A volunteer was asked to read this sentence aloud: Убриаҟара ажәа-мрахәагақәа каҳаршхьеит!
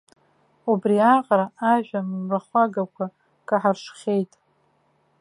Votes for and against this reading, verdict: 2, 3, rejected